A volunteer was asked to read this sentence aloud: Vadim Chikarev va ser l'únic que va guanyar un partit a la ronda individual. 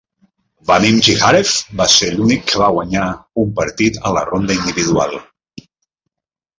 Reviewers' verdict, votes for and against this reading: rejected, 1, 2